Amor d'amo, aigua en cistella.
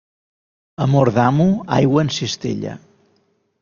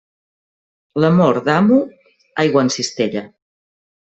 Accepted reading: first